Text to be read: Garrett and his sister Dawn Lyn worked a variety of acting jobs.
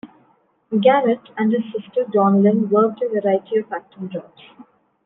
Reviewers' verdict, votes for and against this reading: accepted, 2, 1